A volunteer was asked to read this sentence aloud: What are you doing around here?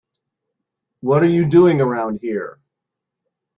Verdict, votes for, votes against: accepted, 2, 0